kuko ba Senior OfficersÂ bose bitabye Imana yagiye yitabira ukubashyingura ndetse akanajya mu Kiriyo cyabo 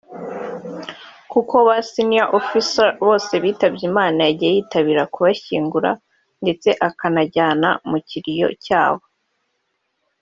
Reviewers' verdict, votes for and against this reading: rejected, 1, 2